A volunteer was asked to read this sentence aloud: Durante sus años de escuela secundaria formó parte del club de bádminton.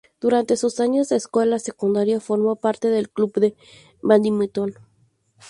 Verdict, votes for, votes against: rejected, 0, 2